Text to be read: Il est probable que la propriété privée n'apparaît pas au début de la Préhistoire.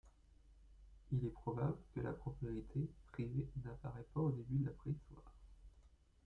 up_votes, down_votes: 2, 1